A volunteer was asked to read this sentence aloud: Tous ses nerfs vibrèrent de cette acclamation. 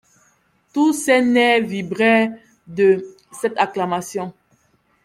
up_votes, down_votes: 0, 2